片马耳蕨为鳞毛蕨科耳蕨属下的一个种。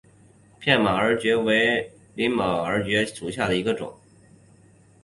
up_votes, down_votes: 2, 1